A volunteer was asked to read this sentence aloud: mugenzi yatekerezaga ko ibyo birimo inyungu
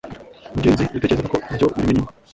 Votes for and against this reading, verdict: 1, 2, rejected